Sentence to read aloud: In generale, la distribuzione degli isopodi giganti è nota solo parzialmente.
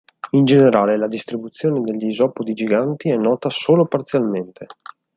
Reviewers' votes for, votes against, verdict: 4, 0, accepted